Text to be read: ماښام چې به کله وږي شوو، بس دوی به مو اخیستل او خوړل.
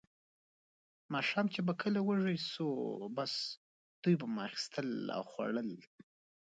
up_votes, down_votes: 2, 1